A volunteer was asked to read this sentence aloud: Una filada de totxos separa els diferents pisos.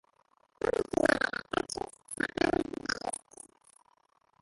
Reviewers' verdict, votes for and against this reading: rejected, 0, 2